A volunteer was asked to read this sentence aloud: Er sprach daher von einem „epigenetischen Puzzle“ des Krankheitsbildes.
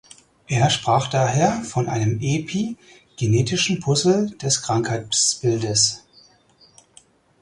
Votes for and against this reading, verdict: 2, 4, rejected